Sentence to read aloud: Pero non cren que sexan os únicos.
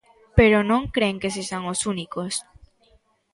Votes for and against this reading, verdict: 2, 0, accepted